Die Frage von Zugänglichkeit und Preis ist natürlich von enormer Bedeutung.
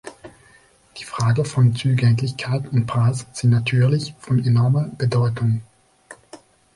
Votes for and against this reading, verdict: 1, 2, rejected